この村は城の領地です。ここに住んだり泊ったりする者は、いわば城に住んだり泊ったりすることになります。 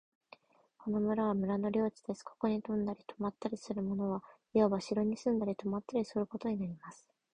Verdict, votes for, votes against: rejected, 1, 2